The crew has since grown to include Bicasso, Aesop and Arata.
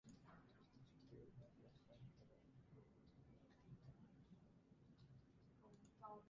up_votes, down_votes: 0, 2